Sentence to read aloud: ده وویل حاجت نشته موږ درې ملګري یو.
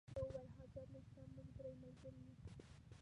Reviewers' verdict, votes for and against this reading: rejected, 0, 2